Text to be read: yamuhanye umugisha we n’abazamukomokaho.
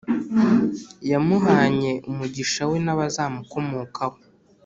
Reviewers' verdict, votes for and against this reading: accepted, 2, 0